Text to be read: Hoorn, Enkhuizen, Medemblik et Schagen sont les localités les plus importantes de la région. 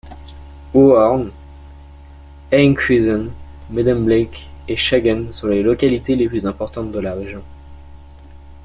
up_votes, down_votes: 2, 0